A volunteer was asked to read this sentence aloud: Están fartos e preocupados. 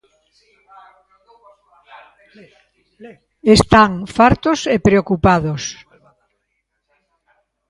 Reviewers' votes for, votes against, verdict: 0, 2, rejected